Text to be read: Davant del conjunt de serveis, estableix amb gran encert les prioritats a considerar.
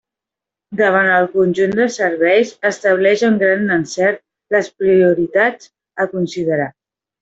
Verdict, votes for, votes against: rejected, 1, 2